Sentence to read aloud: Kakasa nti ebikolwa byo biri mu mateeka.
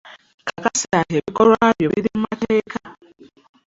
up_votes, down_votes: 1, 2